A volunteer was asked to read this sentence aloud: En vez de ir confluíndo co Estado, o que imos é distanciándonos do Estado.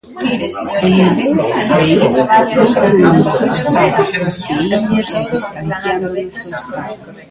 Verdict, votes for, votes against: rejected, 0, 2